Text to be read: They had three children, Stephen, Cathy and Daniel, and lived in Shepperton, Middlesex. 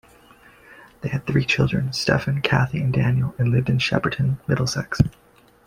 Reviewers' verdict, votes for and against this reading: accepted, 2, 0